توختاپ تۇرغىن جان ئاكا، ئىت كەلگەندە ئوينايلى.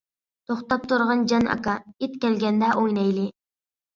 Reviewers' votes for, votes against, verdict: 2, 0, accepted